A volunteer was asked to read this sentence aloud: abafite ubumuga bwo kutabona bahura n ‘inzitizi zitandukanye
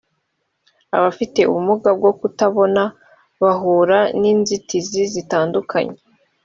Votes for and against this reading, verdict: 2, 0, accepted